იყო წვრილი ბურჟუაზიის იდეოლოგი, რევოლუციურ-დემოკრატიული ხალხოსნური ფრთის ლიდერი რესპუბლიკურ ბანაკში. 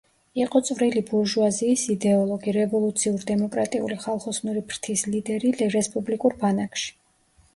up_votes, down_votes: 2, 1